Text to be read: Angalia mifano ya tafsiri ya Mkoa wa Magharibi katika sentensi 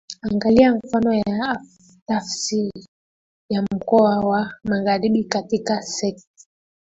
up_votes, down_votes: 0, 2